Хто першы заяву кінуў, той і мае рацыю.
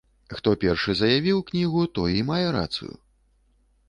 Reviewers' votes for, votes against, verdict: 0, 2, rejected